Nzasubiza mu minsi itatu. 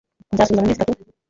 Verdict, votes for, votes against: rejected, 1, 2